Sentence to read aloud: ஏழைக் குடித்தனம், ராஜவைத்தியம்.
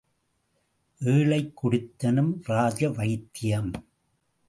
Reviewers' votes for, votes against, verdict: 2, 0, accepted